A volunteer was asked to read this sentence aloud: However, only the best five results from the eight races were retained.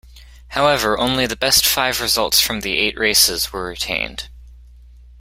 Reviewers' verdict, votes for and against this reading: accepted, 2, 0